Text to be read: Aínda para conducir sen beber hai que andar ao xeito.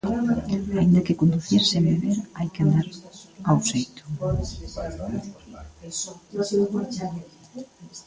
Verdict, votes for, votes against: rejected, 0, 2